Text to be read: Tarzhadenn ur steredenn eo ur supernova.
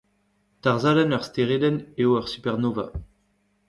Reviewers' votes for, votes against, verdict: 1, 2, rejected